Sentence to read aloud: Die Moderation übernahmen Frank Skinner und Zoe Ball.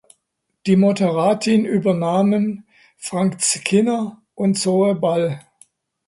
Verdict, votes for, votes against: rejected, 0, 2